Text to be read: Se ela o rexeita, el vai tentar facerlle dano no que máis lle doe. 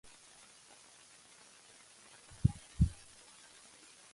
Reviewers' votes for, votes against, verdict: 0, 2, rejected